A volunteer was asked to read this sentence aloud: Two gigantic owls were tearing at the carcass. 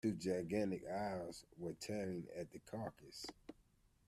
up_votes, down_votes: 2, 0